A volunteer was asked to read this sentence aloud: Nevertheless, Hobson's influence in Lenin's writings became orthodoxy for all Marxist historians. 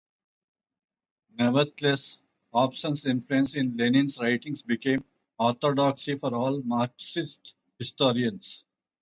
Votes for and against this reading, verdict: 0, 2, rejected